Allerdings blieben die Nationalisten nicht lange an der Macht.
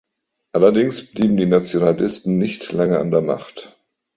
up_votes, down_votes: 4, 1